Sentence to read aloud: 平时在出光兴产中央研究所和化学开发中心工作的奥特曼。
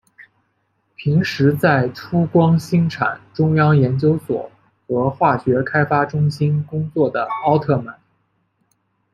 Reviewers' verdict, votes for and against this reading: accepted, 2, 0